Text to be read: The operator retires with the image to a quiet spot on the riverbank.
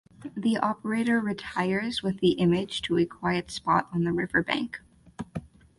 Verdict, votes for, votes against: accepted, 4, 2